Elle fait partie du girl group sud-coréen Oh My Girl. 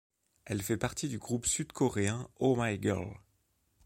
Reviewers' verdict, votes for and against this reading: rejected, 1, 3